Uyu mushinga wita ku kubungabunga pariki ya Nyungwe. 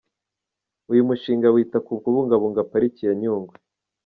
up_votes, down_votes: 2, 1